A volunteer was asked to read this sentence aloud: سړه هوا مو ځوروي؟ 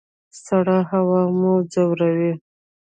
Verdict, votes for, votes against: accepted, 2, 0